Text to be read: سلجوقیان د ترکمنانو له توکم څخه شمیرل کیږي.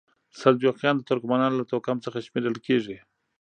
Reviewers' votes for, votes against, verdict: 1, 2, rejected